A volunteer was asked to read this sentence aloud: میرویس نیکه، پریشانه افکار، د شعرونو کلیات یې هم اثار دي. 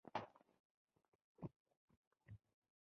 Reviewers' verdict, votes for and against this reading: rejected, 0, 2